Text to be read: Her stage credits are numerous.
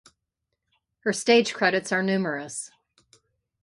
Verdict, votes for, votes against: accepted, 5, 0